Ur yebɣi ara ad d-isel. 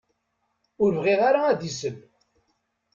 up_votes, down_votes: 1, 2